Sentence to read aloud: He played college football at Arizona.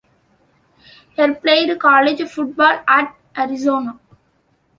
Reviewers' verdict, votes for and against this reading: rejected, 1, 3